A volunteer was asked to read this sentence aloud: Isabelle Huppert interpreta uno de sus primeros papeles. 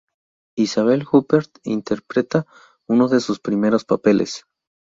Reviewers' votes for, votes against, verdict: 0, 2, rejected